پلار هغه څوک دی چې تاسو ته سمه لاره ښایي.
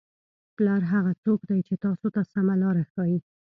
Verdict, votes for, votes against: accepted, 2, 0